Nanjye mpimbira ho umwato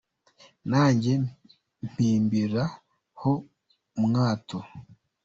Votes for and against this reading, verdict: 0, 2, rejected